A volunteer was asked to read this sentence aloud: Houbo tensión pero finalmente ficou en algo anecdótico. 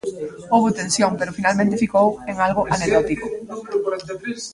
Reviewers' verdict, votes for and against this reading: rejected, 1, 2